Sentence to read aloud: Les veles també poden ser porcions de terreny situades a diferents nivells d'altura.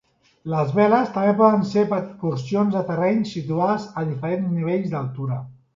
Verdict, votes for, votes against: rejected, 1, 3